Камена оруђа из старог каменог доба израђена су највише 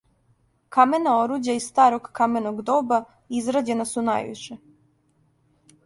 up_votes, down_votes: 2, 0